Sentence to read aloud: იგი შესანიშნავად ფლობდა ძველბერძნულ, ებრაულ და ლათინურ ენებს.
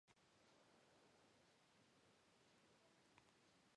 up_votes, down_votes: 1, 2